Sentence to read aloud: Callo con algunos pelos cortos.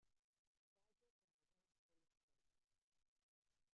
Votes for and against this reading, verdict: 0, 2, rejected